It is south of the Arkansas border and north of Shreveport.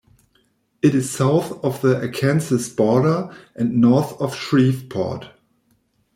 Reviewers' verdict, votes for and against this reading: rejected, 1, 2